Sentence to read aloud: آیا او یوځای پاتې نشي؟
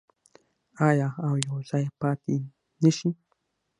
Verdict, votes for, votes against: accepted, 6, 0